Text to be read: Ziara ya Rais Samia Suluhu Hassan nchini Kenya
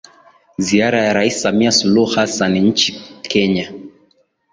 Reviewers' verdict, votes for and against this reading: rejected, 0, 2